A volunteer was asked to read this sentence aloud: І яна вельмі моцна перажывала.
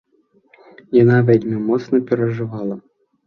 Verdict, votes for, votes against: rejected, 1, 2